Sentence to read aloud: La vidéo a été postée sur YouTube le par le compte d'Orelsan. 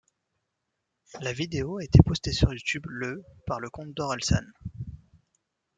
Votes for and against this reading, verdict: 2, 0, accepted